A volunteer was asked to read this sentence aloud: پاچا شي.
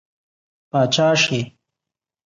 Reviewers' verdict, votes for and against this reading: accepted, 2, 1